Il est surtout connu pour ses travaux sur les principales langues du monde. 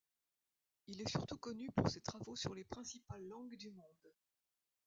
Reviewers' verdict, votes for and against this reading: rejected, 1, 2